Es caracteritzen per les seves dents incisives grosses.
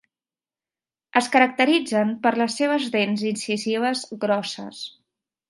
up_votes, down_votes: 4, 0